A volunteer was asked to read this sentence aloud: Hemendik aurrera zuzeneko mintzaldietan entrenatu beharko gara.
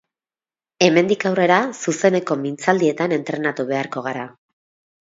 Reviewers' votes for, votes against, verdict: 2, 0, accepted